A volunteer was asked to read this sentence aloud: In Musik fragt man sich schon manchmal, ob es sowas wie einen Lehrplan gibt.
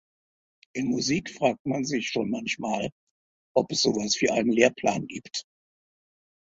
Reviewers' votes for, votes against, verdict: 2, 0, accepted